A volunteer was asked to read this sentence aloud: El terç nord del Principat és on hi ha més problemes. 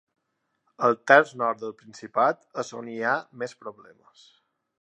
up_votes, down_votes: 2, 0